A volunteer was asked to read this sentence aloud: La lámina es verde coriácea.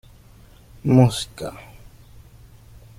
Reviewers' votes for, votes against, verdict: 0, 2, rejected